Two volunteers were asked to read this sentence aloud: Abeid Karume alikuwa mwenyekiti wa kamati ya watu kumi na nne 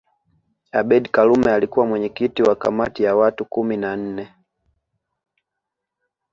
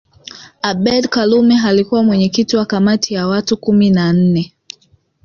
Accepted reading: first